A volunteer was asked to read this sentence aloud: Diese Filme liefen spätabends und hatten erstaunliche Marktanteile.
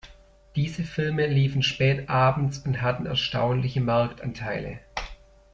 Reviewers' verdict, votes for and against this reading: accepted, 2, 0